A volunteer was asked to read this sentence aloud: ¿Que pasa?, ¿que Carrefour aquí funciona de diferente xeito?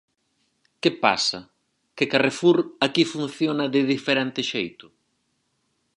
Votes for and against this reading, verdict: 4, 0, accepted